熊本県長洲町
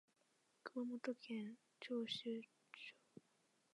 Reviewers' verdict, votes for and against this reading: rejected, 6, 7